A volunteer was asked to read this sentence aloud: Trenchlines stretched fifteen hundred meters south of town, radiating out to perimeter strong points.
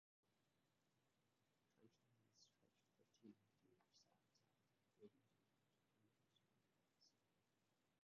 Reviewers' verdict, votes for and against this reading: rejected, 0, 2